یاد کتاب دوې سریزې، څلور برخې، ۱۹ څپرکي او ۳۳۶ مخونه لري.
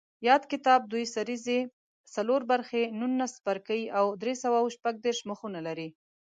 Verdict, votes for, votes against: rejected, 0, 2